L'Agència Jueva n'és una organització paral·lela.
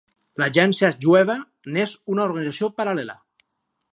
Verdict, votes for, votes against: rejected, 2, 2